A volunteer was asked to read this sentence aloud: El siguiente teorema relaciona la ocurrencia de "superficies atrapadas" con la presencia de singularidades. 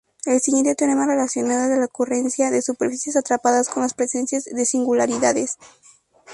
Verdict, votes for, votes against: accepted, 2, 0